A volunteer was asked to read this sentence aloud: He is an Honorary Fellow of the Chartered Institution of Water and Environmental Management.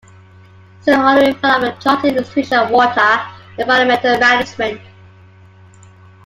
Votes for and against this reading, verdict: 0, 2, rejected